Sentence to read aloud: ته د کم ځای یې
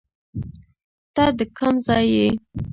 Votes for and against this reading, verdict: 1, 2, rejected